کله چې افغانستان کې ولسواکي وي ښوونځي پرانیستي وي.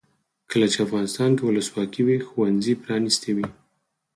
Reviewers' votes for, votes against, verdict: 4, 0, accepted